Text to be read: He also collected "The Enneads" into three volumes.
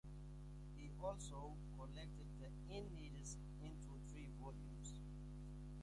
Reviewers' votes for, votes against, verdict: 0, 2, rejected